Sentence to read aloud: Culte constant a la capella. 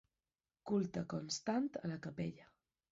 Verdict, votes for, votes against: accepted, 2, 0